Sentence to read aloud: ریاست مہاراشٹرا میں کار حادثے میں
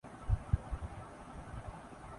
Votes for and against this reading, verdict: 0, 2, rejected